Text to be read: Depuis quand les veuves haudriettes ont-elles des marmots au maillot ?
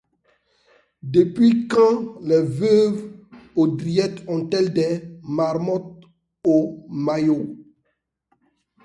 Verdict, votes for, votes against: accepted, 2, 0